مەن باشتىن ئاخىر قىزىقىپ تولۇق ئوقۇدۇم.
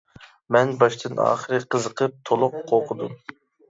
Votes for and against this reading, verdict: 0, 2, rejected